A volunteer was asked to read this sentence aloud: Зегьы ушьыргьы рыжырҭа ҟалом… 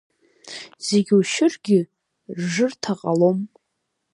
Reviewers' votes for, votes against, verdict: 1, 2, rejected